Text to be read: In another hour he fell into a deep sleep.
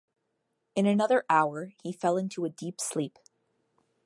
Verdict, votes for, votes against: accepted, 2, 0